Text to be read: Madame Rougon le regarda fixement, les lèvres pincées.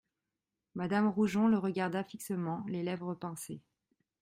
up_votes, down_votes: 0, 2